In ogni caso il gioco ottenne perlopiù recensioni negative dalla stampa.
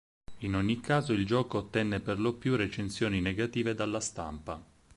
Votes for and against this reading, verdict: 4, 0, accepted